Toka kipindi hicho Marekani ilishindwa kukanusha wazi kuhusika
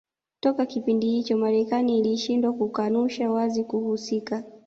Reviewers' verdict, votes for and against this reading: accepted, 2, 0